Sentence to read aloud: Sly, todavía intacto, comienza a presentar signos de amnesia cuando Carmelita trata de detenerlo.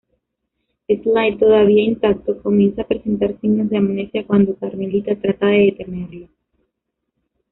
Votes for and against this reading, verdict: 1, 2, rejected